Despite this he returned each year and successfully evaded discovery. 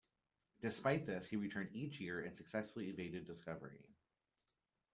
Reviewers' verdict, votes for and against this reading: accepted, 2, 1